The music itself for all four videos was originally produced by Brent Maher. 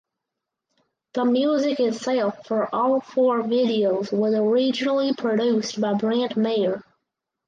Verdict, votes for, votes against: accepted, 4, 2